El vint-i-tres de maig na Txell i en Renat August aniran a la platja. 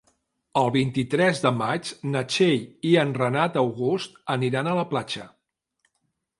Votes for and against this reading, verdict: 2, 0, accepted